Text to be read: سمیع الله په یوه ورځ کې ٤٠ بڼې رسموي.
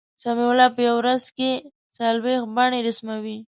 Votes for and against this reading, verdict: 0, 2, rejected